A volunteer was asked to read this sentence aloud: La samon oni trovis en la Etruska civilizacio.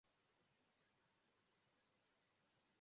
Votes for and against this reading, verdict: 0, 2, rejected